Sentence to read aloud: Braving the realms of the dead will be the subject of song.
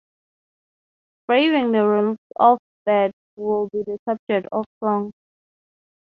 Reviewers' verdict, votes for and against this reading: rejected, 3, 3